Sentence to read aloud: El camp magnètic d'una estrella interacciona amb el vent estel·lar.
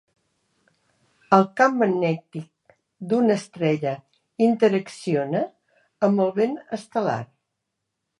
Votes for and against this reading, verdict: 4, 1, accepted